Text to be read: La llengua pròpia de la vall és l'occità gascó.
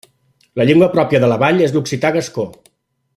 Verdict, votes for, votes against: accepted, 2, 0